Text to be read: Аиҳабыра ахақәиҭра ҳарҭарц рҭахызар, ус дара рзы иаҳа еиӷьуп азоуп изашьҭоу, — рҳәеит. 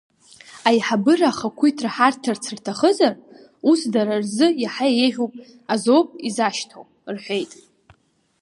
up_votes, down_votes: 3, 0